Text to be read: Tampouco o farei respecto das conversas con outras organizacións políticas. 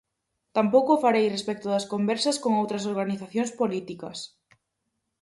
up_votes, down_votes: 4, 0